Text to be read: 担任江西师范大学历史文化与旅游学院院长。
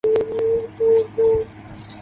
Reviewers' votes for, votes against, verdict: 0, 2, rejected